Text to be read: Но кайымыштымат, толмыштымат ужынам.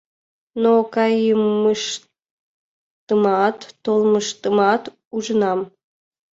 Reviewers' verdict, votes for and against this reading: rejected, 1, 3